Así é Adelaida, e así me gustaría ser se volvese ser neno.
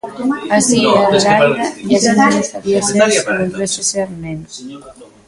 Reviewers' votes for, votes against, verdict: 0, 2, rejected